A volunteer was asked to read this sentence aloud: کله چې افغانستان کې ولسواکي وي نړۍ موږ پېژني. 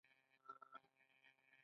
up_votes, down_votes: 2, 1